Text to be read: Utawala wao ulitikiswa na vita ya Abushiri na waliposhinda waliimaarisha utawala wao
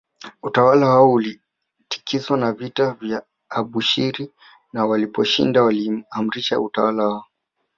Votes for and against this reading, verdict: 2, 0, accepted